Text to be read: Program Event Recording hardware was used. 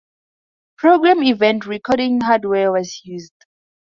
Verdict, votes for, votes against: accepted, 4, 0